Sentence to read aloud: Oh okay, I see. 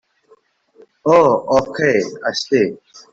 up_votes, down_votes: 1, 2